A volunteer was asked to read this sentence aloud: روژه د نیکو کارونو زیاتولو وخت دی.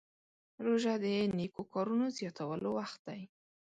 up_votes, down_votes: 2, 0